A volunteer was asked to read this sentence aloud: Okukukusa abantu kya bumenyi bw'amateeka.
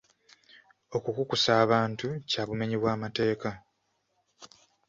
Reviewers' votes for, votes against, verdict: 2, 0, accepted